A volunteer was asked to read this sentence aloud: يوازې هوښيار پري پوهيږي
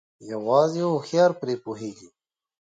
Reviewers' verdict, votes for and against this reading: accepted, 2, 0